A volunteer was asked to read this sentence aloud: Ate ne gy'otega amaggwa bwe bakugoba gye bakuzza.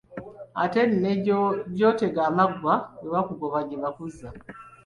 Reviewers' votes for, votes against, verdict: 0, 2, rejected